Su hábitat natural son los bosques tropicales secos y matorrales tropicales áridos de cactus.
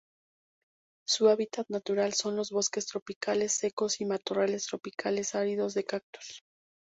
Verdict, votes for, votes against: rejected, 0, 2